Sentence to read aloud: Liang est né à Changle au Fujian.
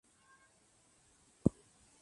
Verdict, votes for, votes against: rejected, 0, 2